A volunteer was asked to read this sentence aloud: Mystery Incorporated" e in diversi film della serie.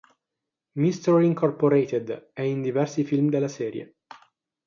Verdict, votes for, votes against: accepted, 6, 0